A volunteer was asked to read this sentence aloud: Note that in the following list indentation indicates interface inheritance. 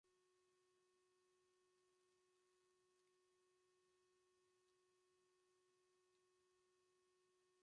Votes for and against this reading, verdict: 0, 2, rejected